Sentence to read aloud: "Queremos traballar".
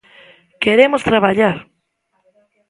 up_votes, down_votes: 2, 0